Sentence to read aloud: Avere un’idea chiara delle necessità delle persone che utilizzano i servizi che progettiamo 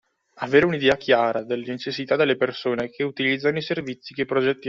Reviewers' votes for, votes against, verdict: 1, 2, rejected